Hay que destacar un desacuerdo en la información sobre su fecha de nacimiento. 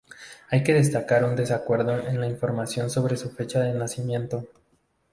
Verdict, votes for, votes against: rejected, 0, 2